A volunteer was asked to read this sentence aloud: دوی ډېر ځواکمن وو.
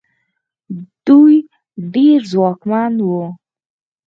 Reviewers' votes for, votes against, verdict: 4, 0, accepted